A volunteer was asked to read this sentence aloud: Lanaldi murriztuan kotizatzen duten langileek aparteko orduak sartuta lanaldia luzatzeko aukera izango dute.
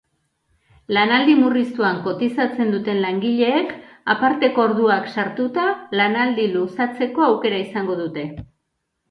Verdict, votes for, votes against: rejected, 1, 2